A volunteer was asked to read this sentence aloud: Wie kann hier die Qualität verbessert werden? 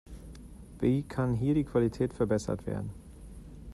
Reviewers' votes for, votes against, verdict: 2, 1, accepted